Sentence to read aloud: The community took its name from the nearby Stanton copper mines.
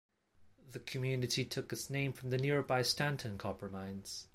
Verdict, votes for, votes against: accepted, 2, 0